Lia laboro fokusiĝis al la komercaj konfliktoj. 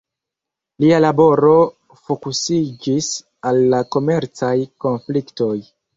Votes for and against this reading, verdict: 2, 0, accepted